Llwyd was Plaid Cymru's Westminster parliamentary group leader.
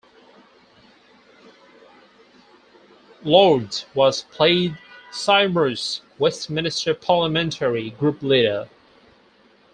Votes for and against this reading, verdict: 2, 4, rejected